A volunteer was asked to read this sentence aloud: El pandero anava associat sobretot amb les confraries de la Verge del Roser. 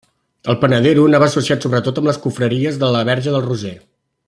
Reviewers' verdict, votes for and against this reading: rejected, 0, 2